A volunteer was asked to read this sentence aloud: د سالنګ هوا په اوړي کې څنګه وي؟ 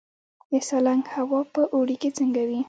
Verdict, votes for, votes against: accepted, 2, 0